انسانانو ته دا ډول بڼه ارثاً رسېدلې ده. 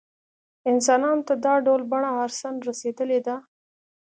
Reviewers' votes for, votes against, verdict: 2, 0, accepted